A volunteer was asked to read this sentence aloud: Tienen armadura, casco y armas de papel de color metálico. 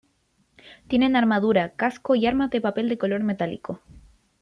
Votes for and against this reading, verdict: 1, 2, rejected